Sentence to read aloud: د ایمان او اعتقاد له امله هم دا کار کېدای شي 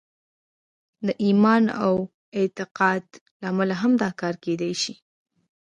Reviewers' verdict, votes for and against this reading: rejected, 0, 2